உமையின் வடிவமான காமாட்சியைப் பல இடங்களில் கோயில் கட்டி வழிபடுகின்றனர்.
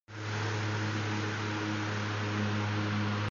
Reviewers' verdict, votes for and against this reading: accepted, 2, 0